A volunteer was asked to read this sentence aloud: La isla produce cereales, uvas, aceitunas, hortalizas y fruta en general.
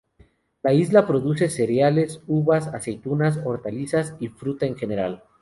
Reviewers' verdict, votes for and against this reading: rejected, 0, 2